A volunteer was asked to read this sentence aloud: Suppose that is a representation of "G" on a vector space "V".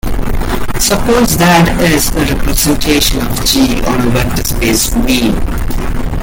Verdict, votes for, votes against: rejected, 1, 2